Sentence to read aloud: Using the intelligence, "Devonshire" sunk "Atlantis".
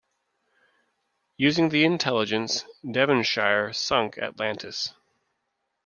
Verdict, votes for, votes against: accepted, 3, 0